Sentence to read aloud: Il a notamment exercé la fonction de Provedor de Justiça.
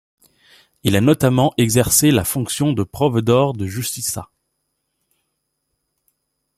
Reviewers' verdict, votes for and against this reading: accepted, 2, 0